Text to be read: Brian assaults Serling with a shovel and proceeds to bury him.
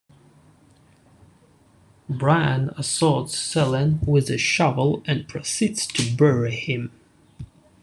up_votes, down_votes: 1, 2